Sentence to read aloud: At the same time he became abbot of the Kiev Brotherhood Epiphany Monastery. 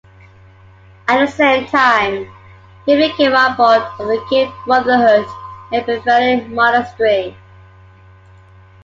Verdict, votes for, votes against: rejected, 0, 2